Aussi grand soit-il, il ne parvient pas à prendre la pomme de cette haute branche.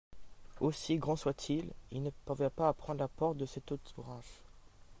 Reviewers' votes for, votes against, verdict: 0, 2, rejected